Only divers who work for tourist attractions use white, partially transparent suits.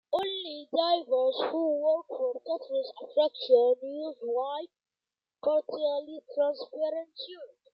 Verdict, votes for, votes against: accepted, 2, 1